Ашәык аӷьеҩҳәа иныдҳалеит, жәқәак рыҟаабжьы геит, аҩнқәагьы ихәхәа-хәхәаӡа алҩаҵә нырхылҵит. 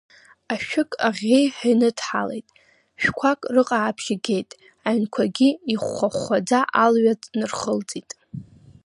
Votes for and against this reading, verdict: 2, 0, accepted